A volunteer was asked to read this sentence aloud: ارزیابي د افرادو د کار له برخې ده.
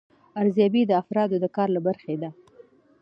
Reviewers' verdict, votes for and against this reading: accepted, 2, 0